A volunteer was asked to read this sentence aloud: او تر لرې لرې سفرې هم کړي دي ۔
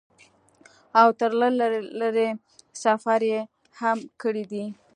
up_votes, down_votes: 2, 0